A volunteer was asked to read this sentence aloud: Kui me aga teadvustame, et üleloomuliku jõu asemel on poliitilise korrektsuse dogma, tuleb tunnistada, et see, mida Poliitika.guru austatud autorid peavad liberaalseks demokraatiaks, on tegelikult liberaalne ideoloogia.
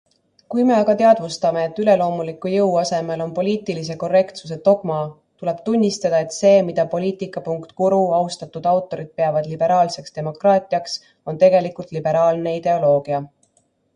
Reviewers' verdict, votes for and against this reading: accepted, 2, 0